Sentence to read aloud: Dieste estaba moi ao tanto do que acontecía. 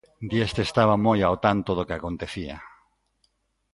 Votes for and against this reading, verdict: 2, 0, accepted